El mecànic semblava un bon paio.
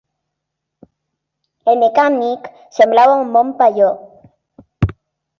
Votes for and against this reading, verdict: 0, 2, rejected